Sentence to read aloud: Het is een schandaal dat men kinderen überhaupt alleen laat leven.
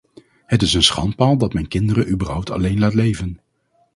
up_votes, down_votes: 0, 2